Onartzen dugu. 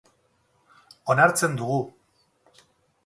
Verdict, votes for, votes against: rejected, 2, 2